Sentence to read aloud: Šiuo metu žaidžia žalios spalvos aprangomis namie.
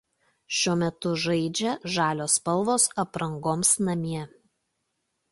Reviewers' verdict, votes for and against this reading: rejected, 0, 2